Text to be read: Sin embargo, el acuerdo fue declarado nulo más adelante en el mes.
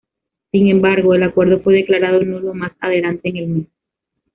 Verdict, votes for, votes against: rejected, 1, 2